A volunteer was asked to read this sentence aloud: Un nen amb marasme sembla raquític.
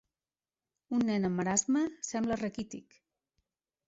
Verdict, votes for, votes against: accepted, 2, 0